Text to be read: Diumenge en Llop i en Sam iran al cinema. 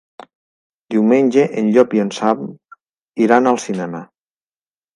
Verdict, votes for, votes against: accepted, 4, 0